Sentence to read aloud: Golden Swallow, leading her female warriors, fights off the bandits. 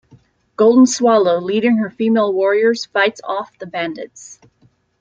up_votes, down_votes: 3, 0